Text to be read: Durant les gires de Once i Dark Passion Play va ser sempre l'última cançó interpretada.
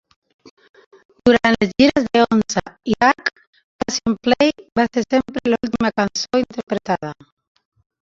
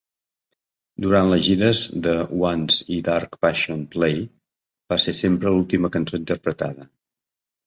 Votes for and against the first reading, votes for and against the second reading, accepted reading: 1, 2, 3, 1, second